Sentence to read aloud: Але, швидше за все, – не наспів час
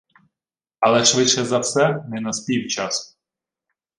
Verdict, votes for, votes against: accepted, 2, 0